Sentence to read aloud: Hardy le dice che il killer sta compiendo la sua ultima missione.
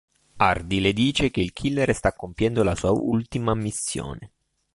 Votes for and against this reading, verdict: 2, 0, accepted